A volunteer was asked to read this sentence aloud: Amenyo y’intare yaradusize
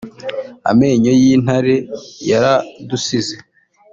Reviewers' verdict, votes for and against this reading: accepted, 3, 0